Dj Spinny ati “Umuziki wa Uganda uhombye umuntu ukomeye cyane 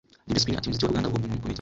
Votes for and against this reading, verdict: 2, 0, accepted